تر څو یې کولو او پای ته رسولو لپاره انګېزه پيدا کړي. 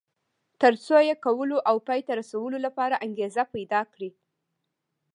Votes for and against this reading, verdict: 0, 2, rejected